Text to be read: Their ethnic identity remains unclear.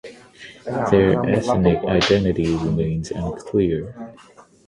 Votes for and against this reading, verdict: 0, 6, rejected